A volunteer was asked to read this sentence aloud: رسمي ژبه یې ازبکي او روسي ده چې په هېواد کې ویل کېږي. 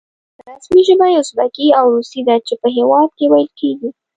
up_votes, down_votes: 2, 0